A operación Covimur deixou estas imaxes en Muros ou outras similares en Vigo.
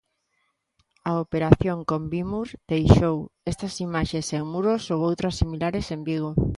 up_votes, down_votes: 1, 2